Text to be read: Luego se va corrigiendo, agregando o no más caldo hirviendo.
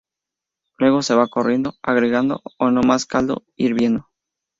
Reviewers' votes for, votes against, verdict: 0, 4, rejected